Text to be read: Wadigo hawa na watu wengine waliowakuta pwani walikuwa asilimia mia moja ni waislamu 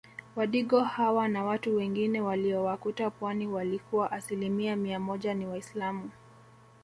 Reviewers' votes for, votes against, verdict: 2, 0, accepted